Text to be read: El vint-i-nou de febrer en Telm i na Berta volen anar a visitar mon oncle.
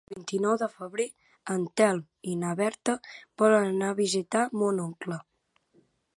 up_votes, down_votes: 4, 1